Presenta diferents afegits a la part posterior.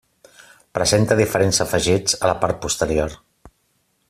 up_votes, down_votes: 3, 0